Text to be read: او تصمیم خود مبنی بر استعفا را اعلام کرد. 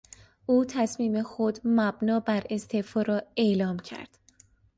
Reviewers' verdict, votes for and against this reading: rejected, 1, 2